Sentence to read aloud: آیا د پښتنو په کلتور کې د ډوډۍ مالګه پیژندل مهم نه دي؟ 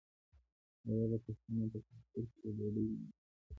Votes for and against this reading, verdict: 1, 2, rejected